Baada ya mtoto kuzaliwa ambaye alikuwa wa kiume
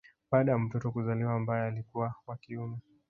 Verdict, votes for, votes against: rejected, 1, 2